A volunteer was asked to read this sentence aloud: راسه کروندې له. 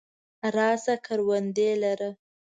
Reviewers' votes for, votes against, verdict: 1, 2, rejected